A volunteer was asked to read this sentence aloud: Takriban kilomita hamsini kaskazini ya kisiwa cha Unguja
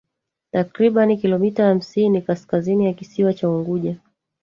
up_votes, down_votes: 1, 2